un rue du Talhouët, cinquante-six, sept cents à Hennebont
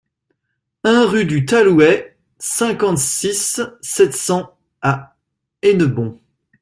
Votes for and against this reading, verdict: 2, 0, accepted